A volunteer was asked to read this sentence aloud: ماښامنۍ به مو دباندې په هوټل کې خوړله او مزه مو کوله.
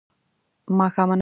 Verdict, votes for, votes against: rejected, 0, 2